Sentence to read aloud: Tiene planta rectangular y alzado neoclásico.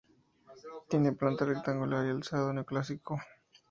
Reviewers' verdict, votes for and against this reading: accepted, 4, 0